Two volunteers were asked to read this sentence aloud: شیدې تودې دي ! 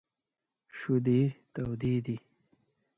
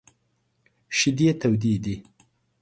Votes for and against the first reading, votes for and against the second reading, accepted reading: 1, 2, 2, 0, second